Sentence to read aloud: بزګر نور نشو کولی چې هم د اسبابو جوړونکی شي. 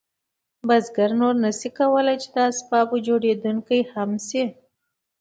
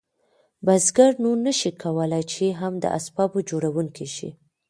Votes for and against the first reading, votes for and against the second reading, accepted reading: 2, 0, 0, 2, first